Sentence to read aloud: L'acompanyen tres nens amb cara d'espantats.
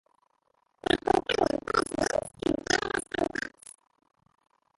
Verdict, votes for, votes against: rejected, 0, 3